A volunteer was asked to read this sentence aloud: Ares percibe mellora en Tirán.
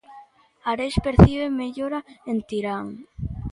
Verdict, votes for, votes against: accepted, 2, 1